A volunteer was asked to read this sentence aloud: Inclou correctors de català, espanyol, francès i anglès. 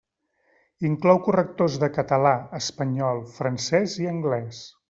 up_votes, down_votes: 3, 0